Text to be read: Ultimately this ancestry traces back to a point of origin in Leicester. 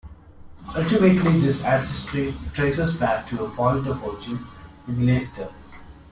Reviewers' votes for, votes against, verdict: 1, 2, rejected